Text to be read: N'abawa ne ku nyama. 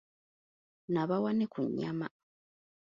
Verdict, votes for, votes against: accepted, 2, 0